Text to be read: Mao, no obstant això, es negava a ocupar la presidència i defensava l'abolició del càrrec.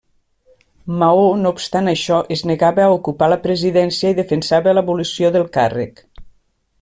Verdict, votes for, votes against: rejected, 1, 2